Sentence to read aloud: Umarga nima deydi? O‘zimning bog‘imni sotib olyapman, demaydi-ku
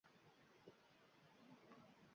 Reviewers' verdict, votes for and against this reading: rejected, 0, 2